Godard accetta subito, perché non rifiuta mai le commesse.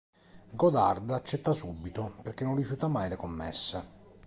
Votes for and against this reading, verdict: 2, 0, accepted